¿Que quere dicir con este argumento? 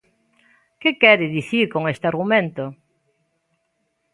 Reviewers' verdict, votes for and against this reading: accepted, 2, 0